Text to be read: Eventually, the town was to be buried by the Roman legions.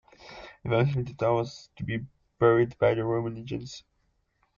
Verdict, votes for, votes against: rejected, 0, 2